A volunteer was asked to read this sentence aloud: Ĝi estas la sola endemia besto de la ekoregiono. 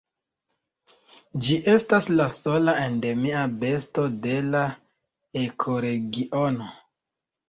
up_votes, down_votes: 0, 2